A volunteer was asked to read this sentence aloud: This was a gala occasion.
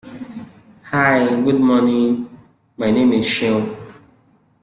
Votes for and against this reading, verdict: 0, 2, rejected